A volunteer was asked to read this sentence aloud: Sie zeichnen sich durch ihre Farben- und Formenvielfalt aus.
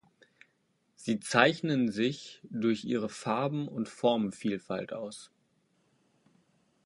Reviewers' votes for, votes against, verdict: 2, 0, accepted